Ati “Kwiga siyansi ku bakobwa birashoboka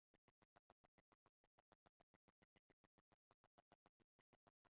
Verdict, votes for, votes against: rejected, 0, 2